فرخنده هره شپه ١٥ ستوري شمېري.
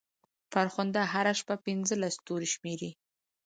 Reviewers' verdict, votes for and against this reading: rejected, 0, 2